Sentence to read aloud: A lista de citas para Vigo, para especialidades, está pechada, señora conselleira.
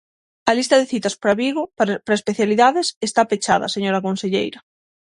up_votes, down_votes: 0, 6